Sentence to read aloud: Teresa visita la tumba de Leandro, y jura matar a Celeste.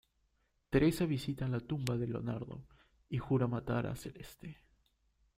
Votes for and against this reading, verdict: 0, 2, rejected